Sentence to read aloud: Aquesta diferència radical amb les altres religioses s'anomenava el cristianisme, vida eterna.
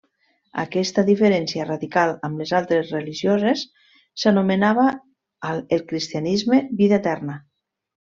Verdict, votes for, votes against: accepted, 3, 0